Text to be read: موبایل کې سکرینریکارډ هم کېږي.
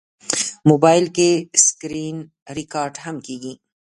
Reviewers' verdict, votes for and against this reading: rejected, 1, 3